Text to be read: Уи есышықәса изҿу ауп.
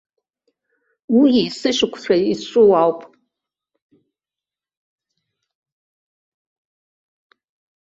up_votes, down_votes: 1, 2